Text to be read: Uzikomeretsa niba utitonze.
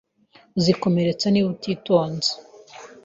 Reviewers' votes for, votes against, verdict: 3, 0, accepted